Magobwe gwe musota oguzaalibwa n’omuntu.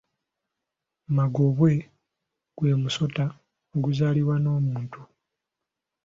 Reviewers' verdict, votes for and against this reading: accepted, 2, 0